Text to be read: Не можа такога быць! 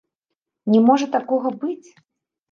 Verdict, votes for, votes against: rejected, 1, 2